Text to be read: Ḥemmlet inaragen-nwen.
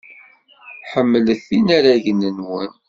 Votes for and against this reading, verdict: 2, 0, accepted